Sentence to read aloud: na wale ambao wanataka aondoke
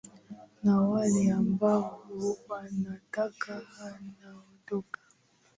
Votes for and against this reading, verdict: 2, 0, accepted